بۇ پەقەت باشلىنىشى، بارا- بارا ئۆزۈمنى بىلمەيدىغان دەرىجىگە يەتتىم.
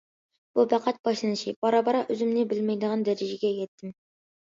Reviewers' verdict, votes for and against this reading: accepted, 2, 0